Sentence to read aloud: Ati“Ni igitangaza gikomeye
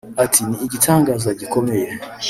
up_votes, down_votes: 1, 2